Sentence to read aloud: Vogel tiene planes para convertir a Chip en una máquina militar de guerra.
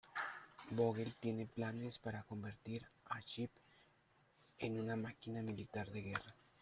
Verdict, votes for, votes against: accepted, 2, 1